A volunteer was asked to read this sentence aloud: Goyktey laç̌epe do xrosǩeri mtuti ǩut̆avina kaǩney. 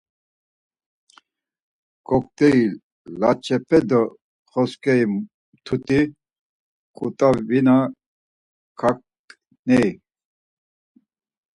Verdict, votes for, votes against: accepted, 4, 2